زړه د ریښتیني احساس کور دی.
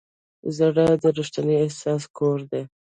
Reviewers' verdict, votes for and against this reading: accepted, 2, 0